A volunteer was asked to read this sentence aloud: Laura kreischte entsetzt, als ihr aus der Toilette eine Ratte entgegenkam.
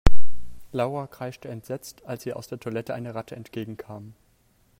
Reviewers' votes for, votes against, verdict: 3, 4, rejected